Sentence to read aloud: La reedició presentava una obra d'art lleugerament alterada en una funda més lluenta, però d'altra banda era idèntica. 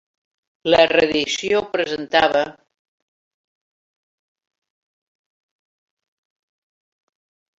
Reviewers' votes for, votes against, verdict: 0, 2, rejected